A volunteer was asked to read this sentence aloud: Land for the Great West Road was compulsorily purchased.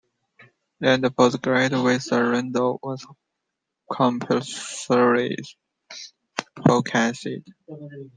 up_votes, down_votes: 0, 2